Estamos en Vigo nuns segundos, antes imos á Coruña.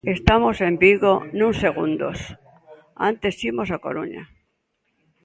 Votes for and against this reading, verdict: 3, 0, accepted